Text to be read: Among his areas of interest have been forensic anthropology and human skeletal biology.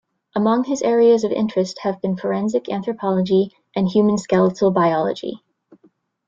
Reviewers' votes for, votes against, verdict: 1, 2, rejected